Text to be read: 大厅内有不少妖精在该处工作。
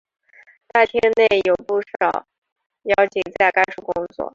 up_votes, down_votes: 1, 2